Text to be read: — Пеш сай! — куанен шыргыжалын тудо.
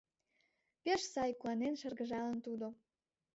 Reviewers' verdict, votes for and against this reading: accepted, 2, 0